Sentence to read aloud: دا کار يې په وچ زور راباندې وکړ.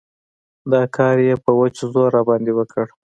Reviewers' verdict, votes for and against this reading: accepted, 4, 1